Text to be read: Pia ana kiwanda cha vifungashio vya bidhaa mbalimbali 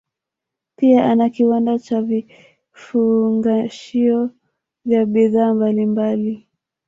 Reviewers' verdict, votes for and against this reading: rejected, 1, 2